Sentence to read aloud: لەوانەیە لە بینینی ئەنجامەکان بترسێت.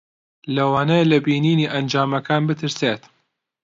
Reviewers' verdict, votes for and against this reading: accepted, 2, 0